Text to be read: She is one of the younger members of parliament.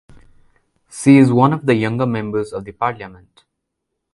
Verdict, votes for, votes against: rejected, 1, 2